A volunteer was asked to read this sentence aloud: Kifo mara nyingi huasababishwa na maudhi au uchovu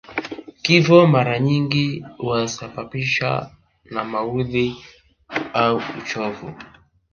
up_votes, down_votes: 1, 2